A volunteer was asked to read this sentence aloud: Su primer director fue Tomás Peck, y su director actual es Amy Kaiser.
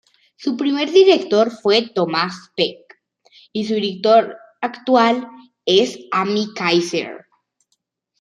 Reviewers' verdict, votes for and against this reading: rejected, 1, 2